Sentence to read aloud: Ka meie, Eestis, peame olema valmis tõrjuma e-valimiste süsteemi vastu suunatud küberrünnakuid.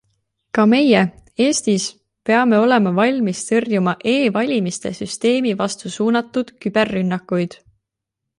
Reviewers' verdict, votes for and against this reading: accepted, 2, 0